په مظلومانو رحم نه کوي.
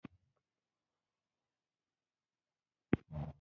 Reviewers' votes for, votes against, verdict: 0, 2, rejected